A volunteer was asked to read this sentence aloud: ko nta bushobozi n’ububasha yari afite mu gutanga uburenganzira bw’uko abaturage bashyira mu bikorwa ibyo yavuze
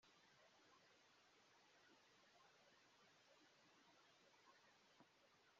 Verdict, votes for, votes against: rejected, 0, 2